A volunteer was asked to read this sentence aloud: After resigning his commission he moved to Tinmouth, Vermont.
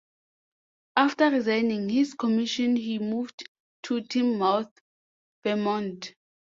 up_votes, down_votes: 2, 0